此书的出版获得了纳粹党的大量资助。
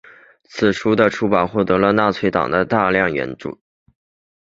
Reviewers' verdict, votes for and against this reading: rejected, 3, 3